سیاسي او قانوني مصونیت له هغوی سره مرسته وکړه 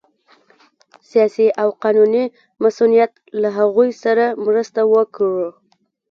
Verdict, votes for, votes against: accepted, 2, 0